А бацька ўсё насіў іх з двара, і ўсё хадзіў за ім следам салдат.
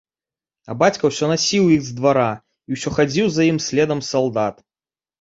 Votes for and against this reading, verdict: 2, 0, accepted